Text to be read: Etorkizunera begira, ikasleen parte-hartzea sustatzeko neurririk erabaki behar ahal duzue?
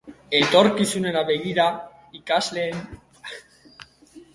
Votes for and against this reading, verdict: 0, 2, rejected